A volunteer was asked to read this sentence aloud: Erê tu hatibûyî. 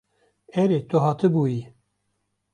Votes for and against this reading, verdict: 2, 0, accepted